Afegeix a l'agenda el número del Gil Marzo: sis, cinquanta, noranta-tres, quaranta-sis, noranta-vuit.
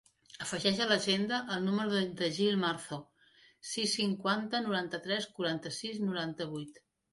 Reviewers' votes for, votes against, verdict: 0, 2, rejected